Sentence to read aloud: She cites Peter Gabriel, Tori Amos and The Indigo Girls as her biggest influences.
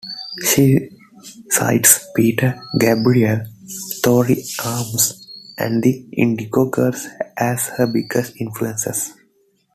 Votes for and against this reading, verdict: 2, 0, accepted